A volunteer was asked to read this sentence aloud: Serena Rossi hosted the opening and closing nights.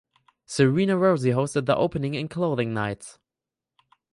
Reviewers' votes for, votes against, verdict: 2, 4, rejected